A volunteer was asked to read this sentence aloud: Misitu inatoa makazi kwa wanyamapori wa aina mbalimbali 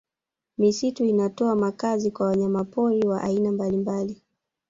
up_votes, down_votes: 1, 2